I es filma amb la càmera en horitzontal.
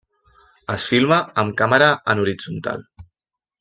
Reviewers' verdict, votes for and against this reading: rejected, 0, 2